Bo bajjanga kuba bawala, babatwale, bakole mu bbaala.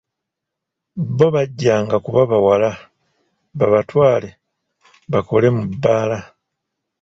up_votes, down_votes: 2, 0